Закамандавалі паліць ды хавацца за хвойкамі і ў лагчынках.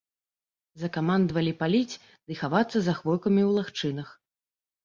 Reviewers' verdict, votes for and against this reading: rejected, 1, 2